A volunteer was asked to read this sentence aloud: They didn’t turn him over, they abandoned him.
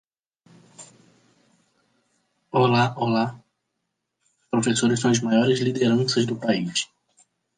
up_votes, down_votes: 0, 3